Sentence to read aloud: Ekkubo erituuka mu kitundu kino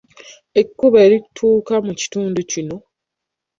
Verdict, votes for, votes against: rejected, 0, 2